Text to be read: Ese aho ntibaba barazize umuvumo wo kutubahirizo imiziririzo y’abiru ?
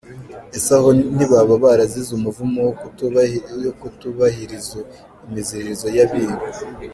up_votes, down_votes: 0, 2